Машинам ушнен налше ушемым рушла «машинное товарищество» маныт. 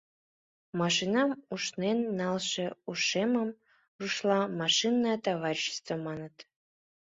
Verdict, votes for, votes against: accepted, 2, 0